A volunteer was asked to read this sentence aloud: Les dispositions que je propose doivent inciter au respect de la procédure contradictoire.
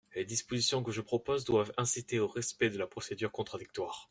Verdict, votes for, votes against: accepted, 2, 0